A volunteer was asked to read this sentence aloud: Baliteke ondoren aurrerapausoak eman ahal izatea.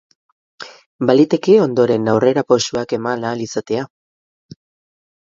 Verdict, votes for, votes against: accepted, 4, 0